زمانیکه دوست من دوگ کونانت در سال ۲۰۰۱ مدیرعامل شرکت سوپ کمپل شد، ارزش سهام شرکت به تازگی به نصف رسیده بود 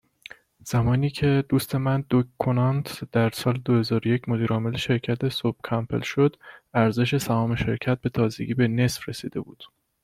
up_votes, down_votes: 0, 2